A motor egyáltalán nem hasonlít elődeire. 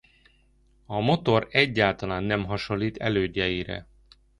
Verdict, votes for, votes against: rejected, 0, 2